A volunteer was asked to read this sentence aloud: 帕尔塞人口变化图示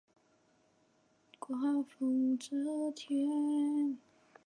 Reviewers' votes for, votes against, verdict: 0, 4, rejected